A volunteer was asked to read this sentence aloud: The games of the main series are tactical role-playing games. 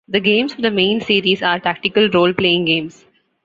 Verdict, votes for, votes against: accepted, 2, 0